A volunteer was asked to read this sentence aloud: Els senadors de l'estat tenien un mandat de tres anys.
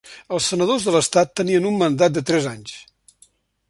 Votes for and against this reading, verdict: 0, 2, rejected